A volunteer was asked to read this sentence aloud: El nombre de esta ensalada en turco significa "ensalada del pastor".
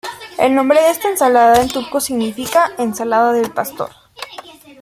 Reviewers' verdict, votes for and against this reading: accepted, 2, 0